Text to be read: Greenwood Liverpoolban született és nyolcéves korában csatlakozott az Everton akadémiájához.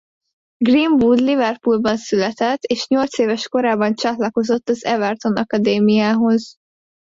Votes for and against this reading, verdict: 1, 2, rejected